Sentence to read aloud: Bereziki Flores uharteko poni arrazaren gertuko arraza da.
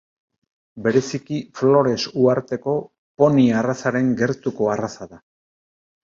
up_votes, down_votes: 2, 0